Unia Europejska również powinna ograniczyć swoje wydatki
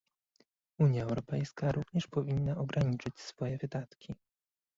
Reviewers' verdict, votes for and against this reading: rejected, 0, 2